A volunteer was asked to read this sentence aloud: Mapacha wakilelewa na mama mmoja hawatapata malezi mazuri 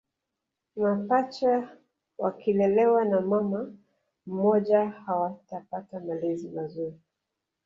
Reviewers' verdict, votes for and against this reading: rejected, 1, 2